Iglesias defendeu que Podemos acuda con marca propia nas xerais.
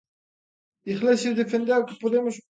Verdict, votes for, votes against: rejected, 0, 2